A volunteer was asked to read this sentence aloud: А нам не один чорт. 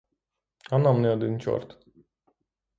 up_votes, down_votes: 3, 0